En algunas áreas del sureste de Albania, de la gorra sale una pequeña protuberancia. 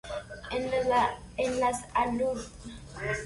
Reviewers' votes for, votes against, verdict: 0, 2, rejected